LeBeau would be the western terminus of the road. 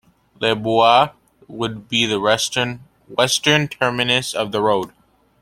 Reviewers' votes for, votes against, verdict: 0, 2, rejected